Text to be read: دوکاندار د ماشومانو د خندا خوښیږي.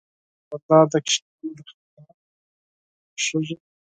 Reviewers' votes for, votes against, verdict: 0, 4, rejected